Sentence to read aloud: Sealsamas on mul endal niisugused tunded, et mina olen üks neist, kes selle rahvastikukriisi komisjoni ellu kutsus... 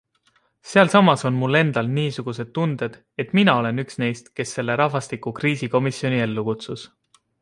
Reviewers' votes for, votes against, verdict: 2, 0, accepted